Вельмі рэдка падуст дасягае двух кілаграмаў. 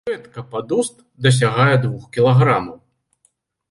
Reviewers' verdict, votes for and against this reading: rejected, 0, 2